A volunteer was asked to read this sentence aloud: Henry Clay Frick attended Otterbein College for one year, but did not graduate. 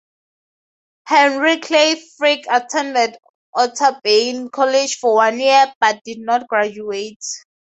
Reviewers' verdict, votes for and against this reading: accepted, 4, 0